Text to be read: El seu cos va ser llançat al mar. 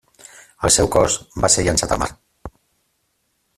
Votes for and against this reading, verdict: 0, 2, rejected